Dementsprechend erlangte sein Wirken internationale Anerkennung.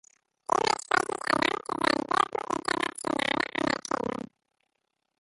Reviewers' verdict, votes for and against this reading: rejected, 0, 2